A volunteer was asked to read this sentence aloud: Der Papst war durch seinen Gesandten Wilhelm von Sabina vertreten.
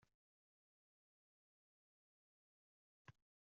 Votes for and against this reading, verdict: 0, 2, rejected